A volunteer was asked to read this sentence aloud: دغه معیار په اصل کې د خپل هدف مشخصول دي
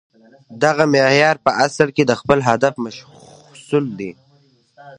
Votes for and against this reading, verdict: 2, 0, accepted